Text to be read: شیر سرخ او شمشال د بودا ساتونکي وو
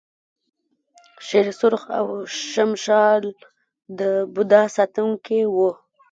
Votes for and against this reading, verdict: 1, 2, rejected